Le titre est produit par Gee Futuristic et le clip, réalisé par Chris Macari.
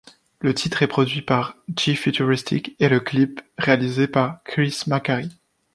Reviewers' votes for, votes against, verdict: 2, 0, accepted